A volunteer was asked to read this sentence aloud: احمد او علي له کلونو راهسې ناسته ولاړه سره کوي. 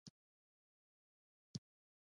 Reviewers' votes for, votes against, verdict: 2, 0, accepted